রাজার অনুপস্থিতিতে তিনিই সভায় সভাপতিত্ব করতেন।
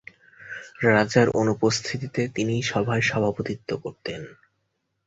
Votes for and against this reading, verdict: 2, 0, accepted